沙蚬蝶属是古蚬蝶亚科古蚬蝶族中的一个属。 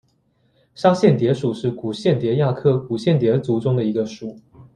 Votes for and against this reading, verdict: 2, 0, accepted